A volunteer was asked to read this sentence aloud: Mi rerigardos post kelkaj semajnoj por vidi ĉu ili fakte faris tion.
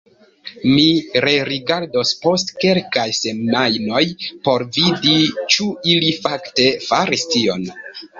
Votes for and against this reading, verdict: 2, 0, accepted